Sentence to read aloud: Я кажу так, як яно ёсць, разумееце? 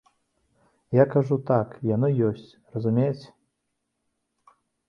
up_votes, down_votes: 0, 2